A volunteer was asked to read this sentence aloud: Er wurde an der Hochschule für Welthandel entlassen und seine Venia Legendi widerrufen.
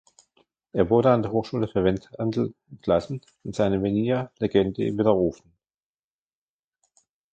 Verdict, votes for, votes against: accepted, 2, 1